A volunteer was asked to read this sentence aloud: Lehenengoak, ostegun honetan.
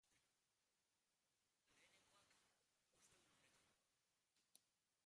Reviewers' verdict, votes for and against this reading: rejected, 0, 2